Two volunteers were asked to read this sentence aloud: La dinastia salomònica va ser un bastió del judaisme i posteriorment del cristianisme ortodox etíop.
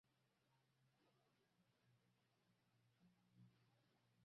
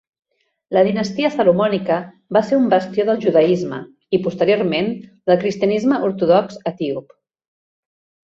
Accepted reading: second